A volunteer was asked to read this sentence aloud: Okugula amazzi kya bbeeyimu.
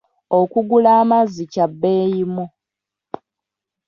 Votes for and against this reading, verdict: 2, 1, accepted